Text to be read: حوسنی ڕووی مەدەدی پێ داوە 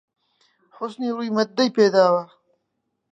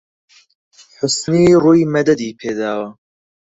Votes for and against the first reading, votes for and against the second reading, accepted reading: 0, 2, 4, 0, second